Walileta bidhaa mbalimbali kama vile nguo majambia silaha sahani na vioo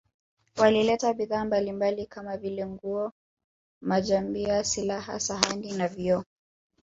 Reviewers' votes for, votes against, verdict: 3, 0, accepted